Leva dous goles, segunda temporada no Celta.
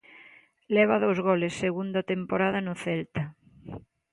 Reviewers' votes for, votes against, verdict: 2, 1, accepted